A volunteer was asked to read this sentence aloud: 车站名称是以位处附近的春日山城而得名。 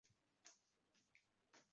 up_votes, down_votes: 0, 3